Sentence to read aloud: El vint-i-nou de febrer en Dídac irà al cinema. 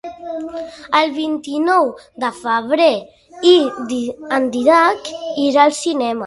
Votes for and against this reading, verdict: 0, 2, rejected